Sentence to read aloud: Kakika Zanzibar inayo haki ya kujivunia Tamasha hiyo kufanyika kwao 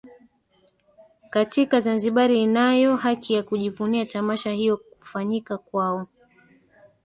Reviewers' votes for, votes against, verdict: 1, 2, rejected